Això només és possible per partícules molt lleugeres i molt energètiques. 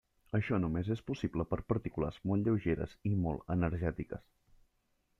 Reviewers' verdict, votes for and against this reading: accepted, 3, 0